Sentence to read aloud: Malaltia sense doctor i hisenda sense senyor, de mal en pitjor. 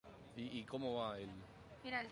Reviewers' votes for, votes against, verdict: 0, 2, rejected